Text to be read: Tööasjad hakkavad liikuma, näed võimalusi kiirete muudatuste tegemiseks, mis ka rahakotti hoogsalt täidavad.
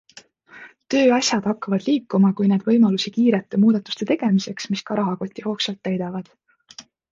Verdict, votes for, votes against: rejected, 1, 2